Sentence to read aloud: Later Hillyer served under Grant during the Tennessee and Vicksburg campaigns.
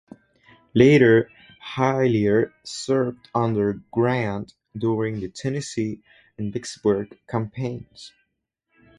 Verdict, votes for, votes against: rejected, 2, 2